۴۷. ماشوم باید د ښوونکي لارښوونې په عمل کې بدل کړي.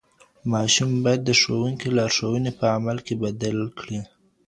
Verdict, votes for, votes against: rejected, 0, 2